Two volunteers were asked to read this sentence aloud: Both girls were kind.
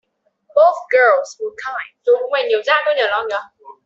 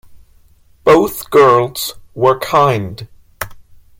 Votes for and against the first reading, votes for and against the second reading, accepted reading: 1, 2, 2, 0, second